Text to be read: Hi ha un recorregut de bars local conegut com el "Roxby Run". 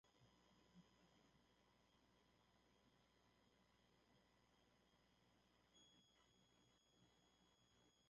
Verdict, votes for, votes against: rejected, 0, 2